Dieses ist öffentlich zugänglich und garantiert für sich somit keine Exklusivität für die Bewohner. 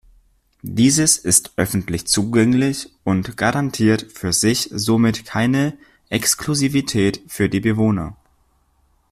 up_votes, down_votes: 2, 0